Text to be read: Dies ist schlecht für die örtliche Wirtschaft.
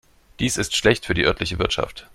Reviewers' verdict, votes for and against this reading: accepted, 2, 0